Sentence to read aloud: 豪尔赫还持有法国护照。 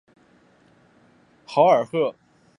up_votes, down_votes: 1, 2